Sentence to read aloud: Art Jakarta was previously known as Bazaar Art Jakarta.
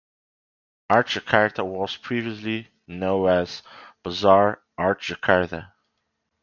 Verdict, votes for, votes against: rejected, 0, 2